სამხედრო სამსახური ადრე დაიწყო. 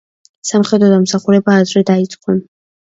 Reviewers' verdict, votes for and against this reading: rejected, 0, 2